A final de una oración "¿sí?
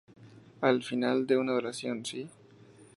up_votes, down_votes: 2, 0